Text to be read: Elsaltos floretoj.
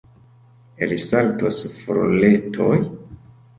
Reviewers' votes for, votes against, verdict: 1, 3, rejected